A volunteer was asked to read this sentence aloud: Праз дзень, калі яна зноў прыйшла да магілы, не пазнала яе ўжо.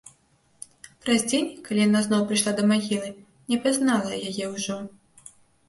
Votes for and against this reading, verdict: 2, 0, accepted